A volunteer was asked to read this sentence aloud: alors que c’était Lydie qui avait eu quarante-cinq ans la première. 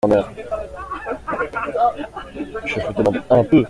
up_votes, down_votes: 0, 2